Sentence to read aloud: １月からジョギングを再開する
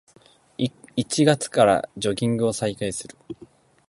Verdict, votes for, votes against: rejected, 0, 2